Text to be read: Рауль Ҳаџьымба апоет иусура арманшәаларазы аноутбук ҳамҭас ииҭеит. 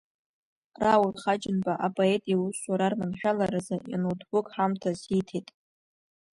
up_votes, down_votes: 2, 1